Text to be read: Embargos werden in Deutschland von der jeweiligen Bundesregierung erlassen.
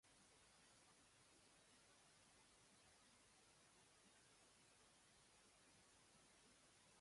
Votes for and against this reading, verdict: 0, 2, rejected